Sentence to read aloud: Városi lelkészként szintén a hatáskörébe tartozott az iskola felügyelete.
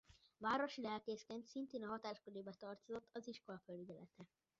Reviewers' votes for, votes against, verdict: 0, 2, rejected